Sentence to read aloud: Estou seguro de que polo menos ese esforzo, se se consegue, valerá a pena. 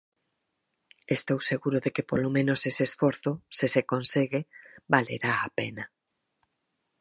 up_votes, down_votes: 4, 0